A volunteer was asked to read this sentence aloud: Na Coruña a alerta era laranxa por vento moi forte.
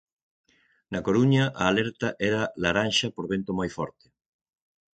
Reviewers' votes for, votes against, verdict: 6, 0, accepted